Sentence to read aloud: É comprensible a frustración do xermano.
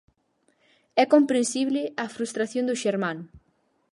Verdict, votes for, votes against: accepted, 4, 0